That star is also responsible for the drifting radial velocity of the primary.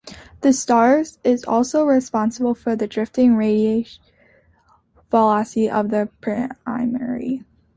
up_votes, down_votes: 0, 2